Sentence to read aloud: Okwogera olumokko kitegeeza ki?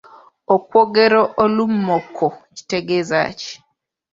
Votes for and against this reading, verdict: 1, 2, rejected